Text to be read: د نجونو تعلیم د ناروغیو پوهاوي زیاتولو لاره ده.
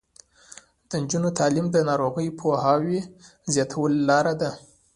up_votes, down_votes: 2, 1